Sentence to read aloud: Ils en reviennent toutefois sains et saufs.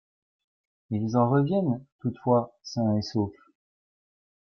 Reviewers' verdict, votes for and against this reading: rejected, 1, 2